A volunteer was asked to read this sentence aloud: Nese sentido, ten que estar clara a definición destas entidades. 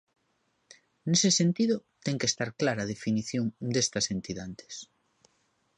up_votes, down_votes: 1, 2